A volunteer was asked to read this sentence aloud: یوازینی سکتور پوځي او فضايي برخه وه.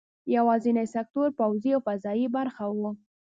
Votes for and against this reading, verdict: 2, 0, accepted